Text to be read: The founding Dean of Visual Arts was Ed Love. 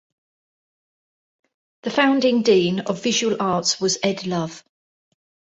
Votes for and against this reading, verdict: 2, 0, accepted